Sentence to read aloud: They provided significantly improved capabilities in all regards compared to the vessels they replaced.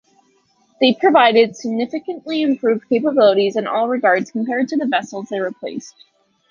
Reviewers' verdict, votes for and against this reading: accepted, 2, 0